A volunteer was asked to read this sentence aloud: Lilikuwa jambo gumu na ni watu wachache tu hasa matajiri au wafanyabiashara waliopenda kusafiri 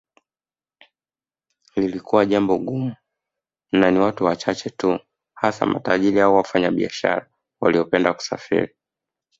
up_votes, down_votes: 2, 0